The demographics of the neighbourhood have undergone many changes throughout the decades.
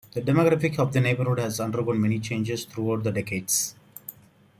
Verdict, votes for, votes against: accepted, 2, 1